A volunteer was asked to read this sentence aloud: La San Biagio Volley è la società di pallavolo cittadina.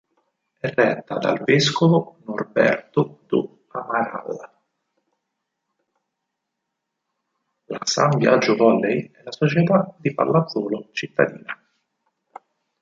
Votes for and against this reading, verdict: 0, 6, rejected